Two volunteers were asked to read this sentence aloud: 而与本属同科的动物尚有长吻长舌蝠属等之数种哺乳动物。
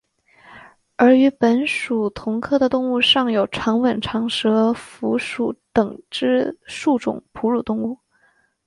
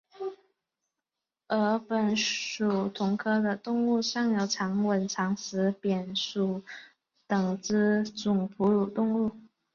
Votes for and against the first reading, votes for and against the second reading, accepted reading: 2, 0, 1, 4, first